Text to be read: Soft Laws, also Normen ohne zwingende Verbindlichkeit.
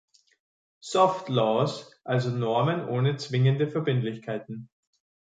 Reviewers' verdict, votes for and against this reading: accepted, 2, 1